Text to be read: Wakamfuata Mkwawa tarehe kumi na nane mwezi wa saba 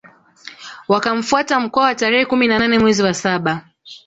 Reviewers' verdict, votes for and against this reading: accepted, 2, 0